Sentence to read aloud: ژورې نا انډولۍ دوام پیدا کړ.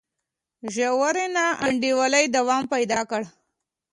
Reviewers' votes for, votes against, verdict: 1, 2, rejected